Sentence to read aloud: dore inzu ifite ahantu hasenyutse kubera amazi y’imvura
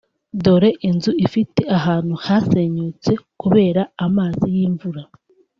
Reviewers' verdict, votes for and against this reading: accepted, 2, 0